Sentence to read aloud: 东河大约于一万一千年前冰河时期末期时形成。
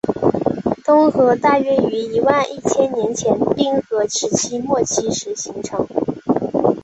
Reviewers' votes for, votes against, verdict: 2, 0, accepted